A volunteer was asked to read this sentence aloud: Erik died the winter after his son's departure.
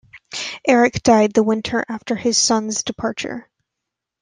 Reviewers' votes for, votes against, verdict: 2, 0, accepted